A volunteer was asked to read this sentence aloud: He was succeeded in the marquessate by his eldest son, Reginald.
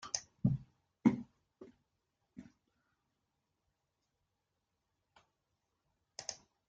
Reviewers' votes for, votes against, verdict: 0, 2, rejected